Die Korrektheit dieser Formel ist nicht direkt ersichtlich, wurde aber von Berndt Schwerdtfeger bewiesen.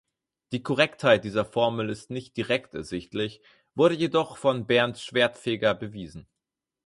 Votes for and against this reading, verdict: 0, 4, rejected